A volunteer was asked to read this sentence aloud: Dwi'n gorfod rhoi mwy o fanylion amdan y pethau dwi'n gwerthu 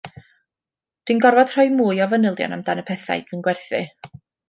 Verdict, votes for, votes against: accepted, 2, 0